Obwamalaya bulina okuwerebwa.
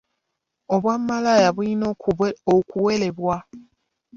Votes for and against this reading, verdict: 0, 2, rejected